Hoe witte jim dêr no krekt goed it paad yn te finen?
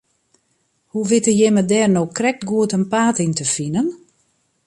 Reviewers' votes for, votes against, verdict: 0, 2, rejected